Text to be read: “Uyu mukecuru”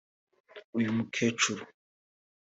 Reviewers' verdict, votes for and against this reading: accepted, 2, 1